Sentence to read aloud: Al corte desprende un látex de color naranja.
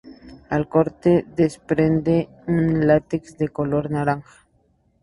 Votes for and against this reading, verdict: 2, 0, accepted